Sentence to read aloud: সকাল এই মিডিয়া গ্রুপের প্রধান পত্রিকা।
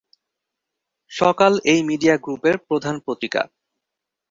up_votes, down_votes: 2, 0